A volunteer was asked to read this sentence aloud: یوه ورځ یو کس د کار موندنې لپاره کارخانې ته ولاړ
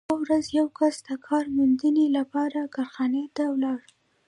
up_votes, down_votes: 1, 2